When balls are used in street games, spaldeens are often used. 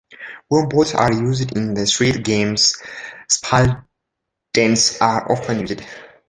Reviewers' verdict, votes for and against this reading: rejected, 0, 2